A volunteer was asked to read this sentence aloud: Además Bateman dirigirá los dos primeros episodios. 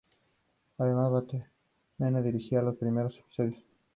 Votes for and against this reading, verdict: 0, 4, rejected